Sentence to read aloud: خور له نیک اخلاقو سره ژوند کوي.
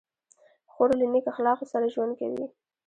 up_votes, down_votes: 1, 2